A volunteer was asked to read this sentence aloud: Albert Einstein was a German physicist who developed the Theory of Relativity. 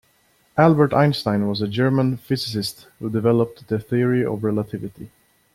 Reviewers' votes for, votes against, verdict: 2, 0, accepted